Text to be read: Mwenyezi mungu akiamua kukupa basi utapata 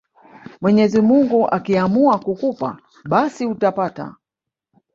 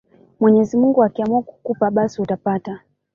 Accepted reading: second